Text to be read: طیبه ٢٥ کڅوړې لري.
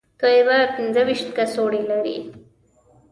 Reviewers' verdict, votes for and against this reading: rejected, 0, 2